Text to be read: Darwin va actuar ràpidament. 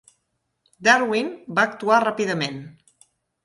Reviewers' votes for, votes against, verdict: 3, 0, accepted